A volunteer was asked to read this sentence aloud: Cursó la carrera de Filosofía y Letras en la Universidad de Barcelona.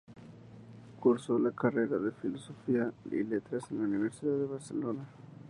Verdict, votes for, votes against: accepted, 4, 2